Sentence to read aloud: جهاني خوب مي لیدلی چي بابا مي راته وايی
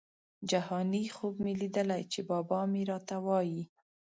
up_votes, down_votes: 2, 0